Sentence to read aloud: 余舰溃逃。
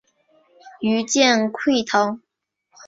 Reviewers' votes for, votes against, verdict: 1, 2, rejected